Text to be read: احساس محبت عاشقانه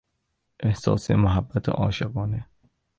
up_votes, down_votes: 2, 0